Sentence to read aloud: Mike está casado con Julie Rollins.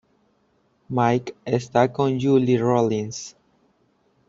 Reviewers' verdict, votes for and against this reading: rejected, 1, 2